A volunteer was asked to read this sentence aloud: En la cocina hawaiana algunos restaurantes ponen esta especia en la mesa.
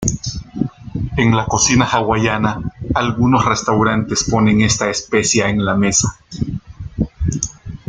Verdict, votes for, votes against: accepted, 2, 0